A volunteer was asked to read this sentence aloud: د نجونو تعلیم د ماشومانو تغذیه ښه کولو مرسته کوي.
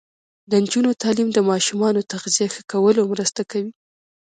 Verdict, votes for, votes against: accepted, 2, 0